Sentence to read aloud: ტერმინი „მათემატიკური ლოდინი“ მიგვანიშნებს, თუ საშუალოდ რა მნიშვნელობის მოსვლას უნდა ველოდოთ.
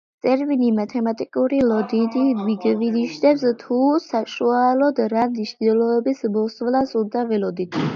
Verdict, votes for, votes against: rejected, 0, 2